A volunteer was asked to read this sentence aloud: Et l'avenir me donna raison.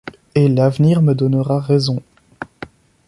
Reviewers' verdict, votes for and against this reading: rejected, 0, 2